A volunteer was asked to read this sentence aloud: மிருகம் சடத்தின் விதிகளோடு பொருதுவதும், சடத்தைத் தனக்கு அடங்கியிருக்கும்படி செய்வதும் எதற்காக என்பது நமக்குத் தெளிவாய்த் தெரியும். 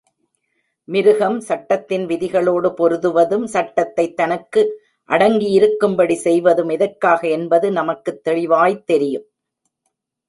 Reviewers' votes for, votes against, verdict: 0, 2, rejected